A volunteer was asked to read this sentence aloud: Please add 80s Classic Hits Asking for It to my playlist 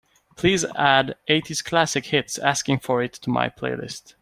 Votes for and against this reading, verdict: 0, 2, rejected